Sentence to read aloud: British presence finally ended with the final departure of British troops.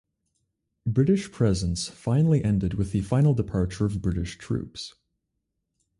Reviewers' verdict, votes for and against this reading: accepted, 2, 0